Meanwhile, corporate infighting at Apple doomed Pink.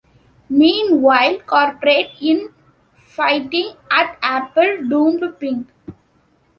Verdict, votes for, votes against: rejected, 1, 3